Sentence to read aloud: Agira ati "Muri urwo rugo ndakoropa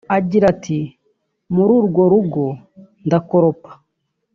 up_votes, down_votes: 2, 0